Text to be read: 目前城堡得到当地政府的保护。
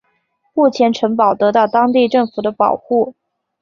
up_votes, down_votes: 4, 0